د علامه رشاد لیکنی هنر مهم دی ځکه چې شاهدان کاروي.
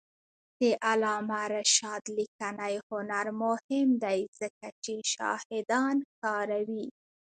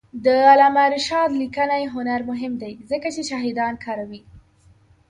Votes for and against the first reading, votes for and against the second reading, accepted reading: 2, 0, 0, 2, first